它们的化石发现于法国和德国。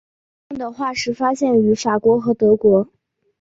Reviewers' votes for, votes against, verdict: 2, 0, accepted